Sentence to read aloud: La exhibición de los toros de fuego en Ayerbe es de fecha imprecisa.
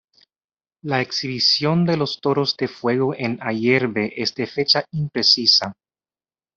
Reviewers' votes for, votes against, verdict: 1, 2, rejected